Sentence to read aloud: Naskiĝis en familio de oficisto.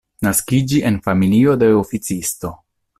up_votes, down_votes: 0, 2